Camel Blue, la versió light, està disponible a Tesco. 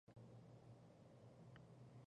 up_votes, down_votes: 0, 2